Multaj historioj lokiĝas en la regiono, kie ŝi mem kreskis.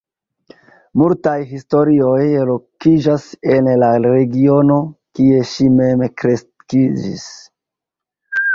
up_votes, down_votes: 0, 3